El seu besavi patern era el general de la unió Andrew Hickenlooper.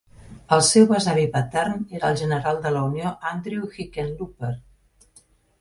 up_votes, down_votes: 3, 0